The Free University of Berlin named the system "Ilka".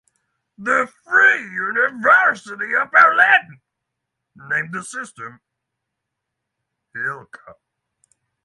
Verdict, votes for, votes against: rejected, 3, 3